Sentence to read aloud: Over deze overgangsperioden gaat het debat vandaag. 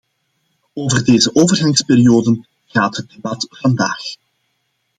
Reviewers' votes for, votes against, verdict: 2, 0, accepted